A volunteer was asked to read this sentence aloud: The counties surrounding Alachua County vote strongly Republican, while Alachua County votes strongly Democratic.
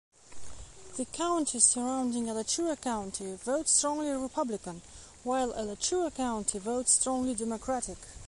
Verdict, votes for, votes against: accepted, 2, 0